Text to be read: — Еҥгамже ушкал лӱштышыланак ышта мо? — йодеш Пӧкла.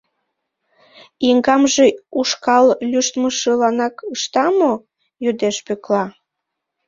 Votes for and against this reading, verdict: 0, 2, rejected